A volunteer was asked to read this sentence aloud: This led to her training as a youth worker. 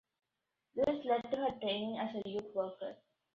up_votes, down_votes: 2, 0